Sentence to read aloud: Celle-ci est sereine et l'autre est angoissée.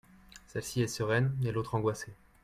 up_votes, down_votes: 1, 2